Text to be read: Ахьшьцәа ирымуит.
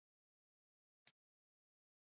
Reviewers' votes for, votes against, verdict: 0, 2, rejected